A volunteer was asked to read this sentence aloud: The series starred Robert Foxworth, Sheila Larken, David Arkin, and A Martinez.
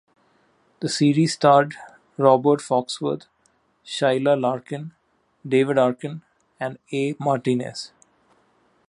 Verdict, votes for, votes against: accepted, 2, 0